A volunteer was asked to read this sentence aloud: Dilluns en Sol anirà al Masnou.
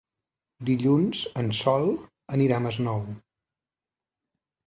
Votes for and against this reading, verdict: 0, 2, rejected